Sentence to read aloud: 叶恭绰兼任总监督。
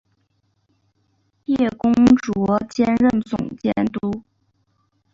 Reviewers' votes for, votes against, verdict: 2, 0, accepted